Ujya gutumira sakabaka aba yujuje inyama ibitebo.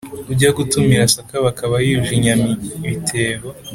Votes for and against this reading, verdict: 4, 0, accepted